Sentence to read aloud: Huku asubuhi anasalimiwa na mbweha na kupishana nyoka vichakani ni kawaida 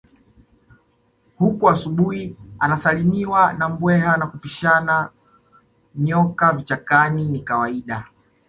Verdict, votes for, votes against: accepted, 2, 0